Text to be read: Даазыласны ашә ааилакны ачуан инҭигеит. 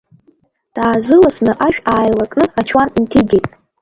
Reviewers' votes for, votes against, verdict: 1, 2, rejected